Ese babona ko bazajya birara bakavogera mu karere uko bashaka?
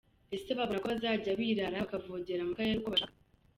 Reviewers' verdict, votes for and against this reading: rejected, 0, 2